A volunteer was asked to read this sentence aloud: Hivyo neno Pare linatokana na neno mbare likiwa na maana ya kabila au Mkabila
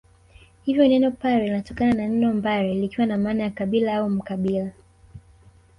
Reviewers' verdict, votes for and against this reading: accepted, 2, 0